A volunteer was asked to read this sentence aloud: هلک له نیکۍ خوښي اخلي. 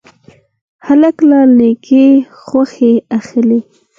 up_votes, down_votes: 0, 4